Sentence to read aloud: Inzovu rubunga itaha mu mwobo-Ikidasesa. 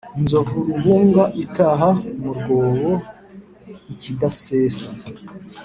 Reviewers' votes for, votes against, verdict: 2, 0, accepted